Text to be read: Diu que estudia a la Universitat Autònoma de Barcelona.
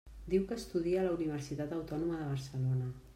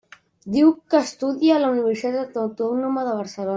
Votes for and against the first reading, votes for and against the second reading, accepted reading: 3, 0, 0, 2, first